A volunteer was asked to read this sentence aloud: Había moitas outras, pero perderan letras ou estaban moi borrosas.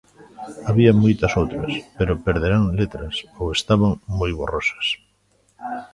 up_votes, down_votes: 1, 2